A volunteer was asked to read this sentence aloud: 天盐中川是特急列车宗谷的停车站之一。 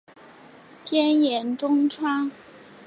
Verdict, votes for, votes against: rejected, 1, 2